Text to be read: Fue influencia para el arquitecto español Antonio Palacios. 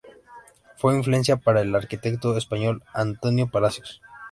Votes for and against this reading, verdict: 2, 0, accepted